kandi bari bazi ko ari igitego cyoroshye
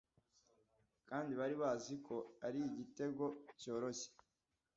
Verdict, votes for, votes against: accepted, 2, 0